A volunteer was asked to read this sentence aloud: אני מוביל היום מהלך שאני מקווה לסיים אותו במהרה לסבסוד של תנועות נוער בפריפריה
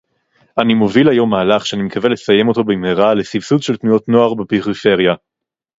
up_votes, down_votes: 2, 2